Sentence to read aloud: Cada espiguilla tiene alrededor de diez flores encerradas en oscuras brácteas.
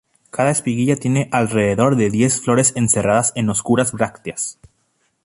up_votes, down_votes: 2, 2